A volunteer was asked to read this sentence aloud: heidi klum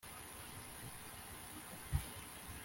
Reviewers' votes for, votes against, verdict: 0, 2, rejected